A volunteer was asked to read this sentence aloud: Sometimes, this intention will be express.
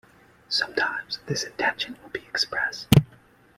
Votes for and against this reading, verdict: 2, 0, accepted